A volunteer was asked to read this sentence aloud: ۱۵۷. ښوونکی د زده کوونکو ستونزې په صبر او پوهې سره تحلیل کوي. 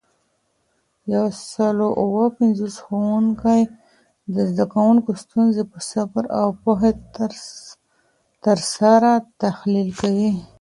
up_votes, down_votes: 0, 2